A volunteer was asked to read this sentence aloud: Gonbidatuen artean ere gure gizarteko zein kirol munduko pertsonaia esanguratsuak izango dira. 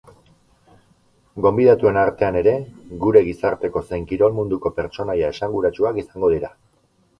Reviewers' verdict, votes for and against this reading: accepted, 4, 0